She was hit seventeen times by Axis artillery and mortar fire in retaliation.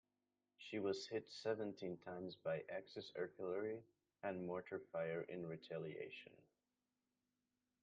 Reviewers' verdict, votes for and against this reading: accepted, 2, 0